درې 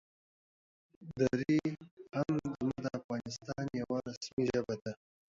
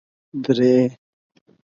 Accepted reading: second